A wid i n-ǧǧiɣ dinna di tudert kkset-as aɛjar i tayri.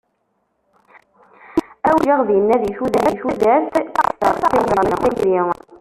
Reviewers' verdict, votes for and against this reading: rejected, 0, 2